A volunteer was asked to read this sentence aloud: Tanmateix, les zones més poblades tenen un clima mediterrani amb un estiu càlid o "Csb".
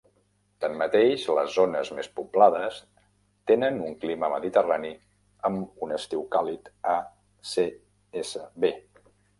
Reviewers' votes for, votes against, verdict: 0, 2, rejected